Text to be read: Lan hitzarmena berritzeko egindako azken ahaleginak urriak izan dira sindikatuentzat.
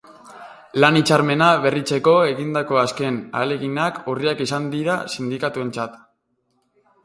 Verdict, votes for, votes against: accepted, 2, 0